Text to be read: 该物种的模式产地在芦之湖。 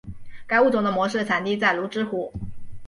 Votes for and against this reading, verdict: 2, 0, accepted